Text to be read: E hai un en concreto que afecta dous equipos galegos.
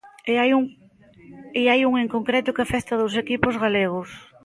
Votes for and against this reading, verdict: 0, 2, rejected